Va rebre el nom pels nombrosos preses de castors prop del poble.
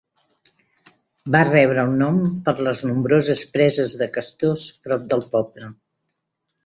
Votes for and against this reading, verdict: 0, 2, rejected